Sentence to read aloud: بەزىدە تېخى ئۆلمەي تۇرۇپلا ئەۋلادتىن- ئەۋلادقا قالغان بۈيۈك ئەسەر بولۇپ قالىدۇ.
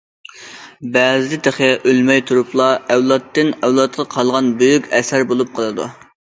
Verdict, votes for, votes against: accepted, 2, 0